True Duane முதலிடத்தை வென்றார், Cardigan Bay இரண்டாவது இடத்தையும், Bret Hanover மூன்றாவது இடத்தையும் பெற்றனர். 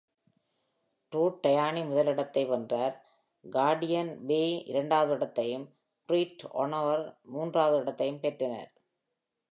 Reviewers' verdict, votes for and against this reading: accepted, 2, 0